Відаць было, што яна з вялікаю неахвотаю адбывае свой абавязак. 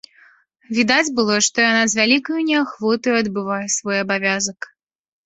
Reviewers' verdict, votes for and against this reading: accepted, 2, 0